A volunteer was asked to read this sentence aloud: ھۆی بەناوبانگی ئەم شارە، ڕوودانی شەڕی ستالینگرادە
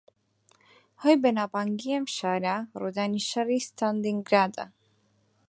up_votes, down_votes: 4, 2